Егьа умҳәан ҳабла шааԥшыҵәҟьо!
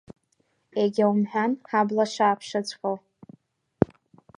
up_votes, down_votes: 2, 0